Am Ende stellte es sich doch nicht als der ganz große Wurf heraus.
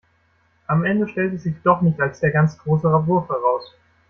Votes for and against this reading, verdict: 1, 2, rejected